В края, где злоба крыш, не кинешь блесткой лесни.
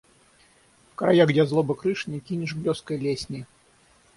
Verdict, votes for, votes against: rejected, 6, 6